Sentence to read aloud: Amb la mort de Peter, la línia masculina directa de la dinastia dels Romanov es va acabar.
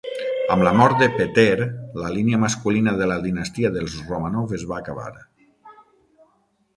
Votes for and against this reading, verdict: 3, 6, rejected